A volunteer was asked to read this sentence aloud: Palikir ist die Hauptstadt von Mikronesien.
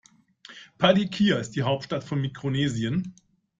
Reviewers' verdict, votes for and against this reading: accepted, 2, 0